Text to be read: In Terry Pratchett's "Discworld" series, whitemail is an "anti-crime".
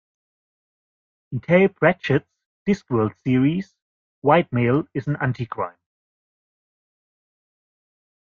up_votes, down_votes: 1, 2